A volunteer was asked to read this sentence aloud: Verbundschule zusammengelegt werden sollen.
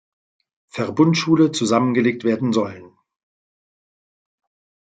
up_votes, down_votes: 2, 0